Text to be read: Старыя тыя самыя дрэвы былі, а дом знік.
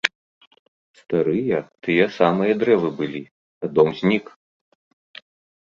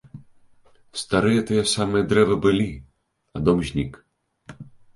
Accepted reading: second